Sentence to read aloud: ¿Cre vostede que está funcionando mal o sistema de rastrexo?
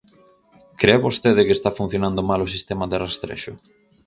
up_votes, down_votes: 2, 2